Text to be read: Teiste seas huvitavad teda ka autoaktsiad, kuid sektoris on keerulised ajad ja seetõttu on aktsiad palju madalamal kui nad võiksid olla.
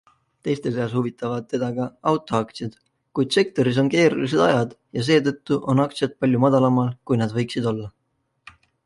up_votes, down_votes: 2, 0